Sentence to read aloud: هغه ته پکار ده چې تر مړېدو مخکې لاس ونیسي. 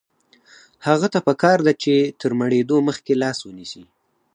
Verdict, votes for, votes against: accepted, 4, 0